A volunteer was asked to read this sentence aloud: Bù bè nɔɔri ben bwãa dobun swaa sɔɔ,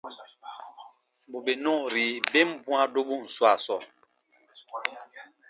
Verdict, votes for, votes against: accepted, 2, 0